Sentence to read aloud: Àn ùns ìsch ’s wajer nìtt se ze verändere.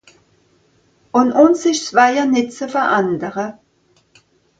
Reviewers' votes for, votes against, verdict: 1, 2, rejected